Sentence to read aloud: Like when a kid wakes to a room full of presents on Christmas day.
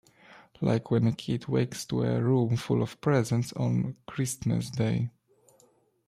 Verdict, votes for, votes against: accepted, 3, 0